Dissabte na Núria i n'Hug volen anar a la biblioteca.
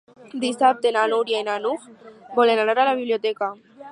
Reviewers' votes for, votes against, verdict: 0, 4, rejected